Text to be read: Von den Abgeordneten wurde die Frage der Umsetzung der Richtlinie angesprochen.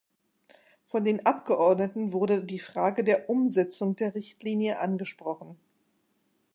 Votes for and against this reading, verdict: 2, 0, accepted